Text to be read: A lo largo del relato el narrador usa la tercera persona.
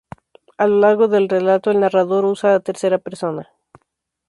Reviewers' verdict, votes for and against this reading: accepted, 4, 2